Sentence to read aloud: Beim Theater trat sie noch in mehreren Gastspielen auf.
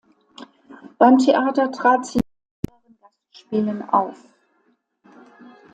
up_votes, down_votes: 0, 2